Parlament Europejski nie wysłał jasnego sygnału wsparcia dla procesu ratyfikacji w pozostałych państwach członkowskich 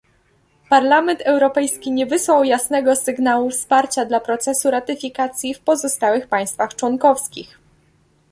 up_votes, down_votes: 2, 0